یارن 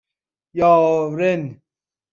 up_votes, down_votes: 2, 0